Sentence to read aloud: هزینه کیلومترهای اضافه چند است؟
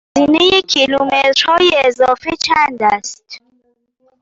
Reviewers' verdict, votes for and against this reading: rejected, 0, 2